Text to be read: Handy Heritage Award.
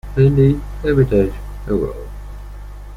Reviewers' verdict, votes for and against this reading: rejected, 1, 2